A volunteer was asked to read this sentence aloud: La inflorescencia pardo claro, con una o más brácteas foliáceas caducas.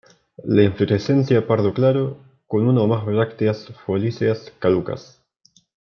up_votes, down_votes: 1, 2